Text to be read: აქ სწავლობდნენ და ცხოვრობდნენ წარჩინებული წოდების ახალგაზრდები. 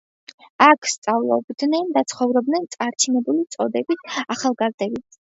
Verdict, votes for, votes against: accepted, 2, 1